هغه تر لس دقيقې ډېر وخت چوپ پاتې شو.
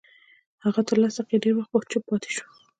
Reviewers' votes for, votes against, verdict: 1, 2, rejected